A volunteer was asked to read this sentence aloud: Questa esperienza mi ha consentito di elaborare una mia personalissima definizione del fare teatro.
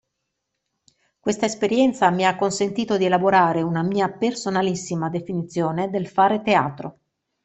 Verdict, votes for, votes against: accepted, 2, 0